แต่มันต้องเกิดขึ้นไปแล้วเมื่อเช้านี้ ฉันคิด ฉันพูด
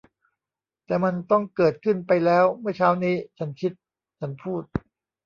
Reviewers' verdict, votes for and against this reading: rejected, 0, 2